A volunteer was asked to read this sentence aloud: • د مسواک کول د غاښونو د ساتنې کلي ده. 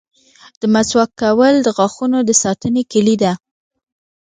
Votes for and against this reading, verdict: 2, 0, accepted